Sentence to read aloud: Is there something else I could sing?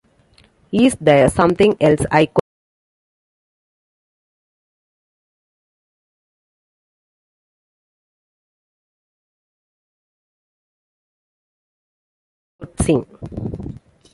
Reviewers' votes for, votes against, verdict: 0, 2, rejected